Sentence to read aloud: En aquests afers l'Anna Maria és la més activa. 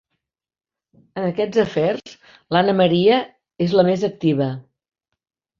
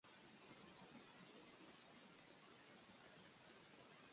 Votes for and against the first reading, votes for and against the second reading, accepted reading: 4, 0, 0, 2, first